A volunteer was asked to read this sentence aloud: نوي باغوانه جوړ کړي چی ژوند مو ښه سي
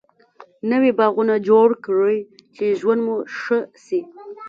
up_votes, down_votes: 0, 2